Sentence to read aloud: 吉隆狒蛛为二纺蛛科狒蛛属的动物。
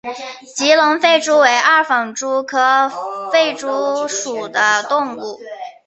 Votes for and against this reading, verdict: 5, 0, accepted